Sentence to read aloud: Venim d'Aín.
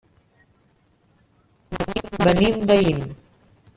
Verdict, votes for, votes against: rejected, 1, 2